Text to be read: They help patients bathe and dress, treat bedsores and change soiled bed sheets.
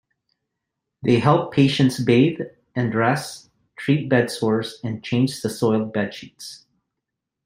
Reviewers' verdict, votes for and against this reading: accepted, 2, 0